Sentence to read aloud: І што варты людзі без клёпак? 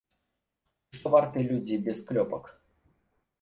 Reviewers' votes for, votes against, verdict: 1, 2, rejected